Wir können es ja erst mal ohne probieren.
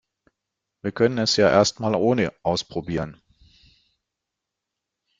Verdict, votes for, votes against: rejected, 0, 2